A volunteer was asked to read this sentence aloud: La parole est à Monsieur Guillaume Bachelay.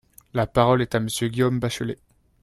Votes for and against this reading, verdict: 2, 0, accepted